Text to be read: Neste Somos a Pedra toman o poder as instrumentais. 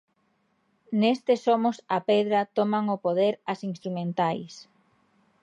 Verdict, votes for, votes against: accepted, 3, 0